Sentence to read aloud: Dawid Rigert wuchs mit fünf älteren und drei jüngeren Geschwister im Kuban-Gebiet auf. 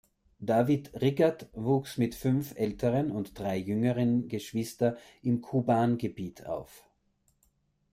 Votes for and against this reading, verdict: 1, 2, rejected